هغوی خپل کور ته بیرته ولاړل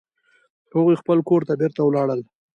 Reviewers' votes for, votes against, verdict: 1, 2, rejected